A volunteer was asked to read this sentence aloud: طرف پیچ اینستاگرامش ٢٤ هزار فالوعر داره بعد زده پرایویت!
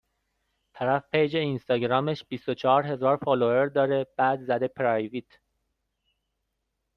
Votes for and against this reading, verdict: 0, 2, rejected